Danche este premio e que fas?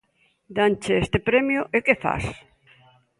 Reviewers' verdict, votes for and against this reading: accepted, 2, 0